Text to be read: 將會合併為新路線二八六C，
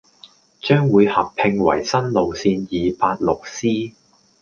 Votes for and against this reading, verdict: 2, 0, accepted